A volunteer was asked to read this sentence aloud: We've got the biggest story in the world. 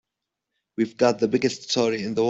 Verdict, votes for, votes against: rejected, 0, 2